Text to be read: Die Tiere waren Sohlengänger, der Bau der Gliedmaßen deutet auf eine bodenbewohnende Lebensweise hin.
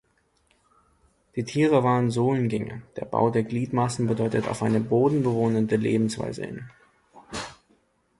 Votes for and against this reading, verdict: 0, 2, rejected